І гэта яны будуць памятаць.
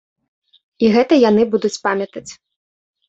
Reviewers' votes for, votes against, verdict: 2, 0, accepted